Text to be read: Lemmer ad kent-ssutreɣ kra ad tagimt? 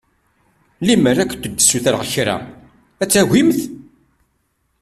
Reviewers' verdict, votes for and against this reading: accepted, 2, 1